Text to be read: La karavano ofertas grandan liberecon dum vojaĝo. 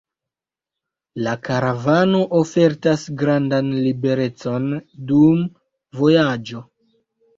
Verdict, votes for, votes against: accepted, 2, 0